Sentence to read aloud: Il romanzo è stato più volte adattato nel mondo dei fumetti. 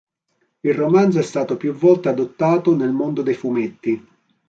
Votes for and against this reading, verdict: 0, 2, rejected